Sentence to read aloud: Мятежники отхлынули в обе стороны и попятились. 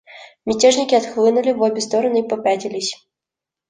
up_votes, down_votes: 2, 0